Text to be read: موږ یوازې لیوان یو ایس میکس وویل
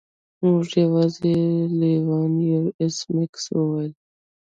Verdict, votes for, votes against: rejected, 1, 2